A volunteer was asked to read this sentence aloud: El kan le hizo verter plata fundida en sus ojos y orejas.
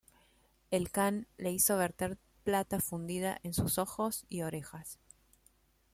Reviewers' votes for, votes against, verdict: 2, 0, accepted